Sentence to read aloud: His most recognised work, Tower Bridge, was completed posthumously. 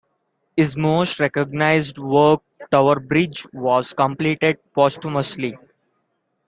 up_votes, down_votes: 2, 1